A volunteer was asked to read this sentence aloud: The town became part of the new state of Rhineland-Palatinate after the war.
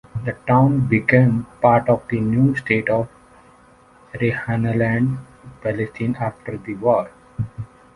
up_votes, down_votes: 1, 2